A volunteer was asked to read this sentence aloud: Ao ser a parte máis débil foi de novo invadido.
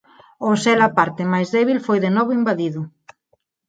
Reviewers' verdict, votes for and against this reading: accepted, 4, 0